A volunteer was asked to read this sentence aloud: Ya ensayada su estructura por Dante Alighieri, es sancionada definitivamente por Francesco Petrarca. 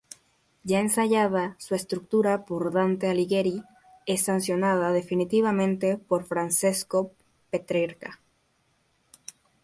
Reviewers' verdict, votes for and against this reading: rejected, 2, 2